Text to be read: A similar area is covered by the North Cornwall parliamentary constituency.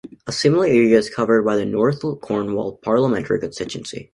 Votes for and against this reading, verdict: 2, 1, accepted